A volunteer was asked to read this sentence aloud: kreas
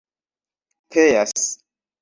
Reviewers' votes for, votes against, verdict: 1, 2, rejected